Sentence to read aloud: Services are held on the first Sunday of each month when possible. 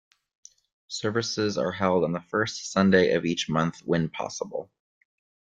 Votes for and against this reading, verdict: 2, 0, accepted